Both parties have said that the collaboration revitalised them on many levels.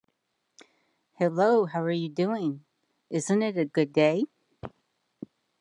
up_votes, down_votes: 1, 2